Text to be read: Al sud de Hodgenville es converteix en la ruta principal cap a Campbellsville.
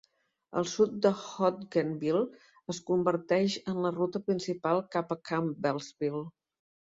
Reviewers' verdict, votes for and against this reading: accepted, 2, 0